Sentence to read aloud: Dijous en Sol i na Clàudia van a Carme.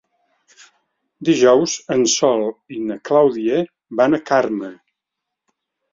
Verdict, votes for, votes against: accepted, 2, 0